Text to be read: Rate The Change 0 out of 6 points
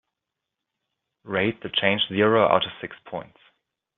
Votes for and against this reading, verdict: 0, 2, rejected